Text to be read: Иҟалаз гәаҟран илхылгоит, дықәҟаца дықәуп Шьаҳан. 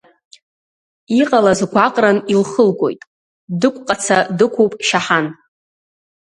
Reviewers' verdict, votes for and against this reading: rejected, 1, 2